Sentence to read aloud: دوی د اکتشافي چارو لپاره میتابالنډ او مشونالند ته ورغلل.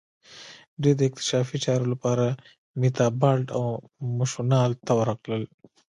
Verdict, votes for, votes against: accepted, 3, 0